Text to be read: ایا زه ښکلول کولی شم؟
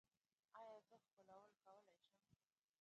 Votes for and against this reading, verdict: 1, 2, rejected